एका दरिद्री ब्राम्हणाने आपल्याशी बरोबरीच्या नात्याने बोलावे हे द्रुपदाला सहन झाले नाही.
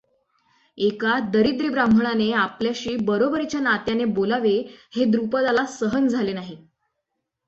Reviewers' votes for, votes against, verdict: 6, 0, accepted